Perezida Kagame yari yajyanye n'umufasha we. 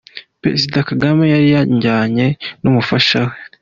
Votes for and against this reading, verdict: 1, 2, rejected